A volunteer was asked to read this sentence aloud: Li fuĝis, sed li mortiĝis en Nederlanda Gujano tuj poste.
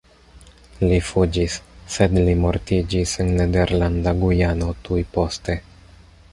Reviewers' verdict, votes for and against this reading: accepted, 2, 0